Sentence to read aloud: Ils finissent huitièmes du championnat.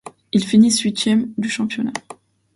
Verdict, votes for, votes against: accepted, 2, 0